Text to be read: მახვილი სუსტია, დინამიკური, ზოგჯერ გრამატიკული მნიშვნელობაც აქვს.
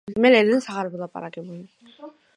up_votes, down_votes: 0, 2